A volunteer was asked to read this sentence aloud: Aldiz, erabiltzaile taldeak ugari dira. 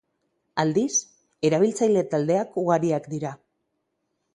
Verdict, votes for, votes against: rejected, 0, 6